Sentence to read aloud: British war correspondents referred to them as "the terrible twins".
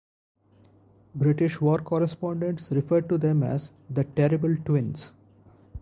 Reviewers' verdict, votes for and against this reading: accepted, 4, 0